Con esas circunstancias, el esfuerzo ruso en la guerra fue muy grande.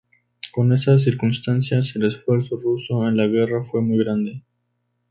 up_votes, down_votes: 2, 0